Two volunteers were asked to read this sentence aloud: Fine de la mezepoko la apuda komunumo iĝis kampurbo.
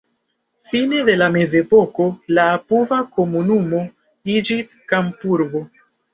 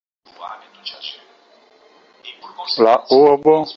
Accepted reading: first